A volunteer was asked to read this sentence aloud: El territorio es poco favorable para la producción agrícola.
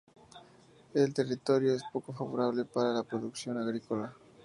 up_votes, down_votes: 2, 0